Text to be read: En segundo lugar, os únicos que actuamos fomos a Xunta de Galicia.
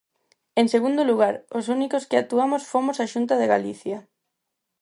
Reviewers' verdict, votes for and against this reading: accepted, 4, 0